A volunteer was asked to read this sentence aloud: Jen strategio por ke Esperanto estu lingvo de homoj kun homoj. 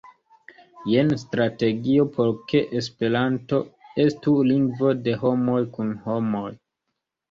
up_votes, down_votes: 0, 2